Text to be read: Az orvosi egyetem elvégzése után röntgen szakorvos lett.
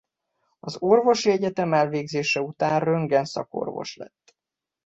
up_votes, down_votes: 2, 0